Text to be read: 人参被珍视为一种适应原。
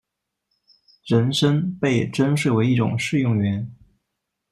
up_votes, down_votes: 1, 2